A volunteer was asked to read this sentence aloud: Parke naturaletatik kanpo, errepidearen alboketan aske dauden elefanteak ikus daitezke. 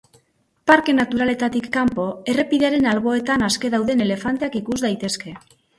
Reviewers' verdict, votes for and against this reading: rejected, 2, 2